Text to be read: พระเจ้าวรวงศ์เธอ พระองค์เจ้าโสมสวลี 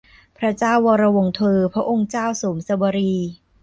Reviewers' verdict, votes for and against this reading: accepted, 2, 0